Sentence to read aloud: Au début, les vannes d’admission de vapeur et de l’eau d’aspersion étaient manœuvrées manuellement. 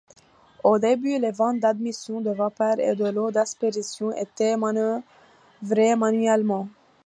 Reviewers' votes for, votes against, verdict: 2, 1, accepted